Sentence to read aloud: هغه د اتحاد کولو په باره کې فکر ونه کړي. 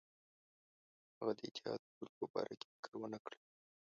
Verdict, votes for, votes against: rejected, 1, 2